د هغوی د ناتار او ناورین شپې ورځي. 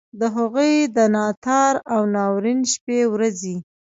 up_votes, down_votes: 0, 2